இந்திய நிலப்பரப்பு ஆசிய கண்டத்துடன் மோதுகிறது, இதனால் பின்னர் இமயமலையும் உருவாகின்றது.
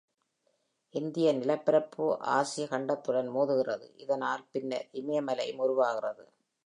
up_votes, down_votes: 2, 0